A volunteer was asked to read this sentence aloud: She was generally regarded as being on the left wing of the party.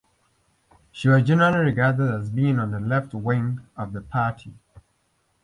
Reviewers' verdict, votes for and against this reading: rejected, 1, 2